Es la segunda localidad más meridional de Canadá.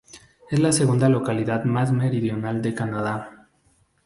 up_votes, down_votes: 4, 0